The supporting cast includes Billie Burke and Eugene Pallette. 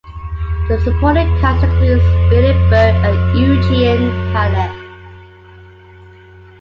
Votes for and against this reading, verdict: 2, 0, accepted